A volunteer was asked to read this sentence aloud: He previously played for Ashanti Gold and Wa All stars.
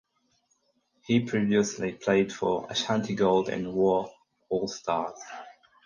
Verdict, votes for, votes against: accepted, 4, 0